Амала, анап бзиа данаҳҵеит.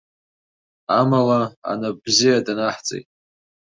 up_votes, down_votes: 2, 0